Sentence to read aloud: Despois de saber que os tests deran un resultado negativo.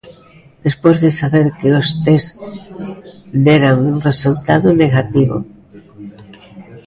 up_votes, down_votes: 2, 1